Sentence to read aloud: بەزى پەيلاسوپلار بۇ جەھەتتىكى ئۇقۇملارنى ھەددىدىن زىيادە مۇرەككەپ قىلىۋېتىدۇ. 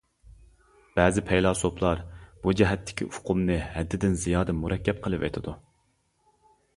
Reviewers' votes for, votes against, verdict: 0, 2, rejected